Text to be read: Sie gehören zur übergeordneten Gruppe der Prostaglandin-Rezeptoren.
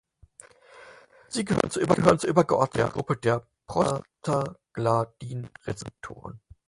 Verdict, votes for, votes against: rejected, 0, 4